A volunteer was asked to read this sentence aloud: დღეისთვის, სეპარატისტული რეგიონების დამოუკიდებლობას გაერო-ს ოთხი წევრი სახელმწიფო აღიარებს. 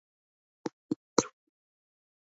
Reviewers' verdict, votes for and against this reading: rejected, 0, 2